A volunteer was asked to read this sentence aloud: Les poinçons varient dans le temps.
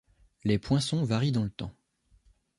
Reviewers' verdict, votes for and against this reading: accepted, 2, 0